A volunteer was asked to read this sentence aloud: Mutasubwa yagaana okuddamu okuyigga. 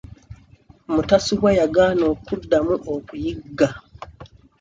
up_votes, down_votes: 2, 0